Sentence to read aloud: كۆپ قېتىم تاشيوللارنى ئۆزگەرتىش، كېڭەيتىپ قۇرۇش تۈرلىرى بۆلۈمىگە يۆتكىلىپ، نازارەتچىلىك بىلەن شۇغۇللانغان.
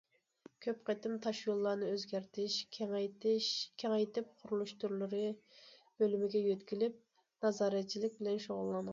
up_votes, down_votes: 0, 2